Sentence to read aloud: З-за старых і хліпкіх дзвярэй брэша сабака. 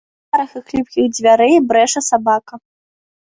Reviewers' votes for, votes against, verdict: 1, 2, rejected